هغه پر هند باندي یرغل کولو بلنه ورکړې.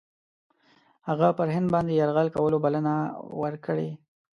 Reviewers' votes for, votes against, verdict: 2, 0, accepted